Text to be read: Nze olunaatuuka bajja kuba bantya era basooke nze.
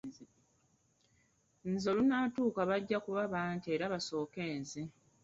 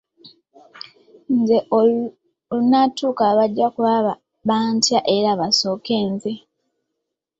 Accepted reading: first